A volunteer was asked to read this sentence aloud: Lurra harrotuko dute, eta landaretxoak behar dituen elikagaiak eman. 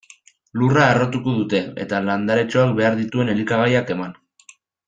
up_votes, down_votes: 2, 1